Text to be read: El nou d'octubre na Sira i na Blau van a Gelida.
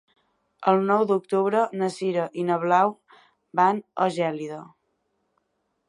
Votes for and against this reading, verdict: 0, 2, rejected